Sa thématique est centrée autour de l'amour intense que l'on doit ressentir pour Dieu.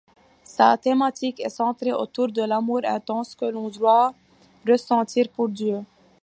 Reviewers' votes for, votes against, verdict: 2, 0, accepted